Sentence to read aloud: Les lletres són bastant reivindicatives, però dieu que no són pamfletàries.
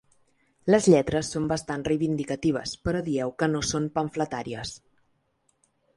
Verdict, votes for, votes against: accepted, 2, 0